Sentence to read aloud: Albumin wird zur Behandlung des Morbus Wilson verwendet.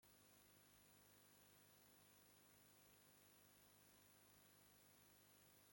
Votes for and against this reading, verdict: 0, 2, rejected